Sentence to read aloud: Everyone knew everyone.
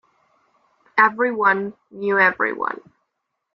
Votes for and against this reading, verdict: 2, 0, accepted